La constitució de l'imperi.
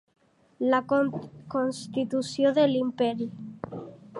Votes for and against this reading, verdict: 0, 2, rejected